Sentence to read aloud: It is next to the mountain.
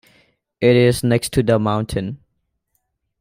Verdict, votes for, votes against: accepted, 2, 0